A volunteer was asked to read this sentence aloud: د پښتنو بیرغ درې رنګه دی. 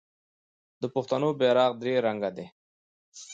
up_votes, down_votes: 2, 0